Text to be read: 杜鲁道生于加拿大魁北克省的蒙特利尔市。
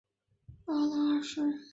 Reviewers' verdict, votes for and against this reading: rejected, 0, 3